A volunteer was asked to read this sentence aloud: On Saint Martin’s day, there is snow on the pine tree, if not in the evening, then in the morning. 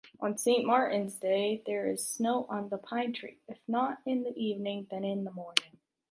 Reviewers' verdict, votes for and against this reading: rejected, 1, 2